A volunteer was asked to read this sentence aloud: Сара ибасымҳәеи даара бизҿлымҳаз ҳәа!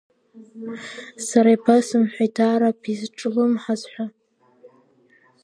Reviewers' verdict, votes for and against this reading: accepted, 2, 0